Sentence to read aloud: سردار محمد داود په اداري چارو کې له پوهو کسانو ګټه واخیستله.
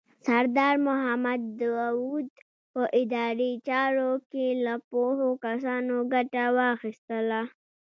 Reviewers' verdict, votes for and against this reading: accepted, 2, 0